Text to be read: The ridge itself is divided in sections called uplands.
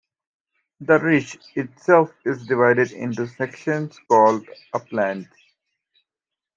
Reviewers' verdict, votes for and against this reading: accepted, 2, 0